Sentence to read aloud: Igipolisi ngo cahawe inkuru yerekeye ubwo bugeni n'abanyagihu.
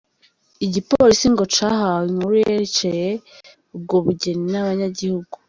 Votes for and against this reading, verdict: 2, 0, accepted